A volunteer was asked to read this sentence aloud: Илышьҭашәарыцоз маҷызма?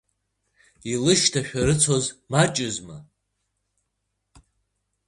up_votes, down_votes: 2, 0